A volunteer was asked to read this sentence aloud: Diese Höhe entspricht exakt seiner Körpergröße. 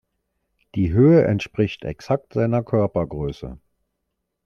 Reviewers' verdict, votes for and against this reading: rejected, 1, 2